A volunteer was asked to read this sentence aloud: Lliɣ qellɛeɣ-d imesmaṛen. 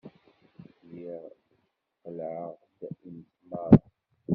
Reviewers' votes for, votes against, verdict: 1, 2, rejected